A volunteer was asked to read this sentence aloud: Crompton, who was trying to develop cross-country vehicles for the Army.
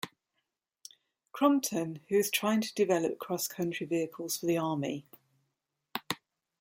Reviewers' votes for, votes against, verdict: 2, 0, accepted